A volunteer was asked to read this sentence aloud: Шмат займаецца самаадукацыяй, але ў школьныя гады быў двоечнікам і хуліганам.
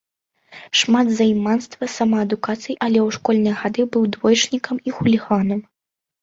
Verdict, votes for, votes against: rejected, 1, 2